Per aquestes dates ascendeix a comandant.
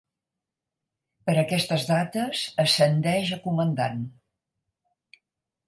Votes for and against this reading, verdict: 4, 0, accepted